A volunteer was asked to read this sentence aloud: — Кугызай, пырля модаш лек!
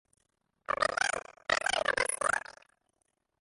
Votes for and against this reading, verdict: 0, 2, rejected